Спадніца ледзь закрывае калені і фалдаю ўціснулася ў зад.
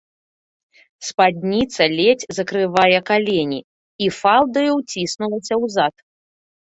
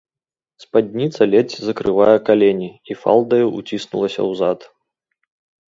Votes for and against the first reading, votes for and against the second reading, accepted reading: 1, 2, 2, 0, second